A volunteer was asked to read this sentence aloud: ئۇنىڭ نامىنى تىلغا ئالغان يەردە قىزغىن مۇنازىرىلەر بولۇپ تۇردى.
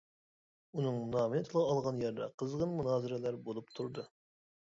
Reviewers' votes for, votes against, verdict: 0, 2, rejected